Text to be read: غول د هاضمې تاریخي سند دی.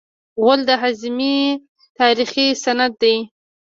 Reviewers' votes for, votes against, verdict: 1, 2, rejected